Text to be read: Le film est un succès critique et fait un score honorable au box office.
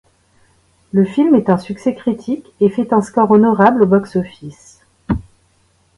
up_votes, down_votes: 2, 0